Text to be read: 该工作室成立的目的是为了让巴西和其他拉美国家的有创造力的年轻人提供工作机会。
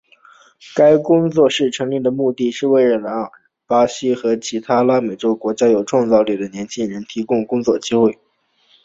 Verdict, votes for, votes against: rejected, 0, 2